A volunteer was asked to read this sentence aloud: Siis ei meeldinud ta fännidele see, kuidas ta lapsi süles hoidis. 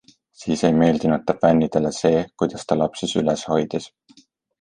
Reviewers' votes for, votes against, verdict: 2, 0, accepted